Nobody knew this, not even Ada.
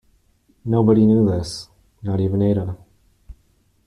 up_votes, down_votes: 2, 0